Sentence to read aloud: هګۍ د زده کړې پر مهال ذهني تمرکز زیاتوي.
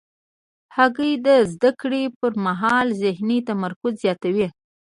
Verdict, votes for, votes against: accepted, 2, 0